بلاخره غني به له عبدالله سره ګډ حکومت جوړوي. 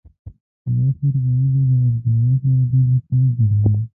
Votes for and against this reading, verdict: 1, 2, rejected